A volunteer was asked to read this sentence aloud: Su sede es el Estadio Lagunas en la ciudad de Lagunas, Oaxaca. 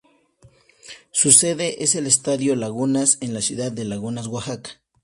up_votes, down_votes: 4, 0